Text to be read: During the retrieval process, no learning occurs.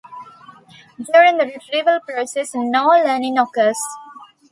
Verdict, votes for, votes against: accepted, 2, 0